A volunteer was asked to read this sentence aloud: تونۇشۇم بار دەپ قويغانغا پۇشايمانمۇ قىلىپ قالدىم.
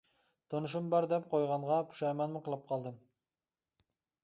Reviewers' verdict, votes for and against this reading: accepted, 2, 0